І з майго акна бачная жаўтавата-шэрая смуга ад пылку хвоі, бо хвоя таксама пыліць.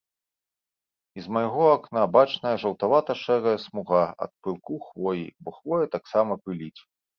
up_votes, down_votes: 2, 0